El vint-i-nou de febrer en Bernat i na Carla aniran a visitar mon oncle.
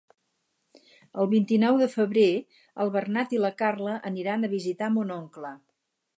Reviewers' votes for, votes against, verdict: 0, 4, rejected